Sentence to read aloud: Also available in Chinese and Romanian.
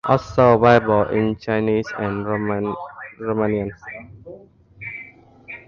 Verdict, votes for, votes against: rejected, 0, 2